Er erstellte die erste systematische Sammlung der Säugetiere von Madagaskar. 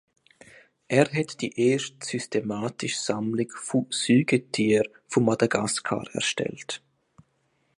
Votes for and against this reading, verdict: 0, 2, rejected